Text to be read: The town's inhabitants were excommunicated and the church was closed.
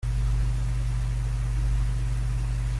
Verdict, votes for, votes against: rejected, 0, 2